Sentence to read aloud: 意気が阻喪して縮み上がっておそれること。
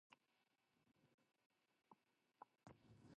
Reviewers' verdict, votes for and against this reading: rejected, 1, 2